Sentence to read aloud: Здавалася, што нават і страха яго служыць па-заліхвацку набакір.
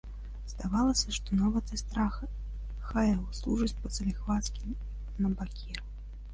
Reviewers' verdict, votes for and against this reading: rejected, 1, 2